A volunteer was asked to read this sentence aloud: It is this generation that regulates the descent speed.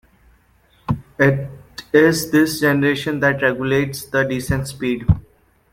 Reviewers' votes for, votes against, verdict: 1, 2, rejected